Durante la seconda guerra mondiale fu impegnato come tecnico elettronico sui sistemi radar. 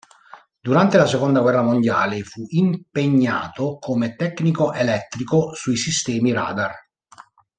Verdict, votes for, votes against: rejected, 0, 2